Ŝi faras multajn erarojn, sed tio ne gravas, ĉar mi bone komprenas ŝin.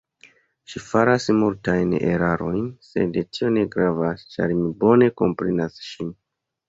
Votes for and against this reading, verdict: 2, 0, accepted